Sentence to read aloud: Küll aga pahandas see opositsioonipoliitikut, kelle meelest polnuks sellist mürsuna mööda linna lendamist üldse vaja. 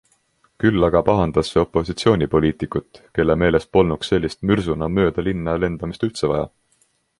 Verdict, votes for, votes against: accepted, 3, 0